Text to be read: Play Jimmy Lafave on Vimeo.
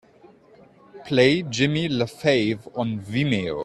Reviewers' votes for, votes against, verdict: 2, 0, accepted